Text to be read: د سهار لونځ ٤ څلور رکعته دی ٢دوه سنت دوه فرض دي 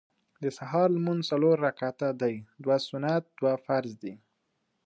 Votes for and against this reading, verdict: 0, 2, rejected